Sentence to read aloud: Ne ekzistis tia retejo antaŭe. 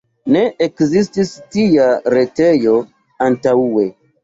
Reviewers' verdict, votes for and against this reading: rejected, 1, 2